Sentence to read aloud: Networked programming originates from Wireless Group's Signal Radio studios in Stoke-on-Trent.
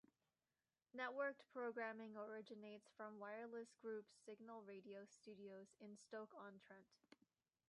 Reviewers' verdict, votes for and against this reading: rejected, 0, 2